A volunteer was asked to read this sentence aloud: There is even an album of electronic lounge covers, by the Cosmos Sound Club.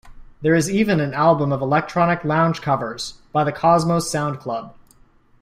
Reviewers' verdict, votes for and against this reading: accepted, 2, 0